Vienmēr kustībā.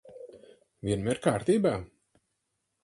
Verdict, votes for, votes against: rejected, 0, 4